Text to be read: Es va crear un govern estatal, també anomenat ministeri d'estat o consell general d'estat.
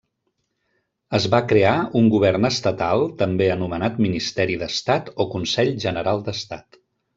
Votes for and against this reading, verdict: 0, 2, rejected